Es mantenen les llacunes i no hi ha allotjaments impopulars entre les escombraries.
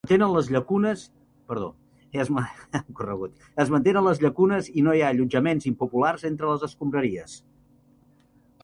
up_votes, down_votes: 0, 3